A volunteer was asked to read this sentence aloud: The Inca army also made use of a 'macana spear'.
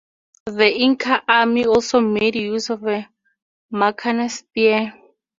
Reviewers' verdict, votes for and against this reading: accepted, 2, 0